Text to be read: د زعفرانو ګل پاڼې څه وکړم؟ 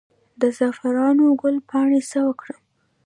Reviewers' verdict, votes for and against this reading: rejected, 1, 2